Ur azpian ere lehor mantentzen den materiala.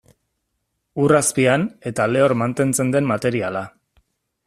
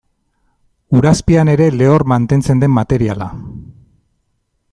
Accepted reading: second